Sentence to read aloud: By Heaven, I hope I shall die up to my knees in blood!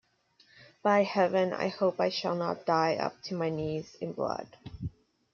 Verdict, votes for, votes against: rejected, 1, 2